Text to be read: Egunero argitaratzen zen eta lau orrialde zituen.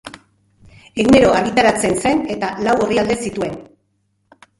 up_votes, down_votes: 2, 0